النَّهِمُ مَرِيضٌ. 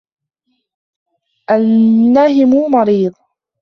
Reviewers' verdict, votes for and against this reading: rejected, 0, 2